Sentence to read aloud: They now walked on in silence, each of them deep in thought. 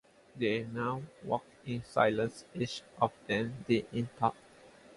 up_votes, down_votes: 0, 2